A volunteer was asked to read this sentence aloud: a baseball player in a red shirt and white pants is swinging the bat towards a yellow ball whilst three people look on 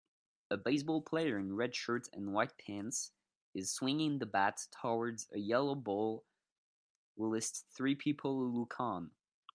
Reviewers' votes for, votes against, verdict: 0, 2, rejected